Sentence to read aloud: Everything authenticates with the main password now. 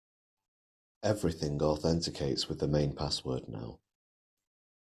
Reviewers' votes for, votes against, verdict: 2, 1, accepted